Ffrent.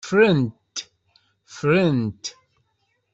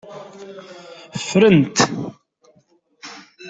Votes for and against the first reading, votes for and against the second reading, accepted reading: 0, 2, 2, 0, second